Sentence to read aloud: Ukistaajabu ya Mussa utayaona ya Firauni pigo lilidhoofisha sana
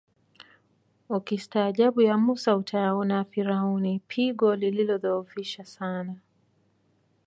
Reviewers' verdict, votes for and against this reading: accepted, 2, 0